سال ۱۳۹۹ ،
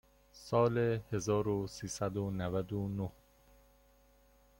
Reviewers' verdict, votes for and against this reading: rejected, 0, 2